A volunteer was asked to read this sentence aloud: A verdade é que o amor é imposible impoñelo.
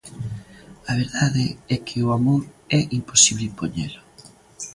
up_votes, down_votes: 2, 0